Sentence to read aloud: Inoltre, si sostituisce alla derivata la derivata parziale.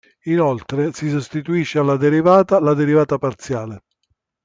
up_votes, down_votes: 2, 0